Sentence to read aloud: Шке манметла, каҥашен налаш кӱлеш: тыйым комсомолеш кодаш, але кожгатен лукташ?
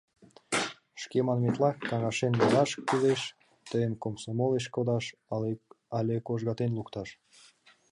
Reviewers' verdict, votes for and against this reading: rejected, 1, 3